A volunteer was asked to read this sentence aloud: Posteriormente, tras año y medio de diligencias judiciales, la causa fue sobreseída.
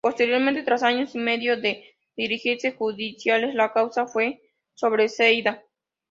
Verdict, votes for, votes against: accepted, 2, 0